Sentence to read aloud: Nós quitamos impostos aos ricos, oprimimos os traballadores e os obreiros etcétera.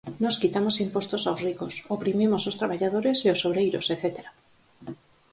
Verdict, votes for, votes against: accepted, 4, 0